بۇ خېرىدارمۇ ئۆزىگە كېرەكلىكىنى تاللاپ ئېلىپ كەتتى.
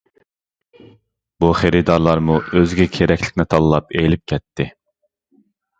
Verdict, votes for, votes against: rejected, 1, 2